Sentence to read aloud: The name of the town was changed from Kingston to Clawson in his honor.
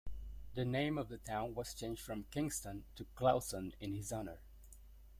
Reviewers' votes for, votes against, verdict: 1, 2, rejected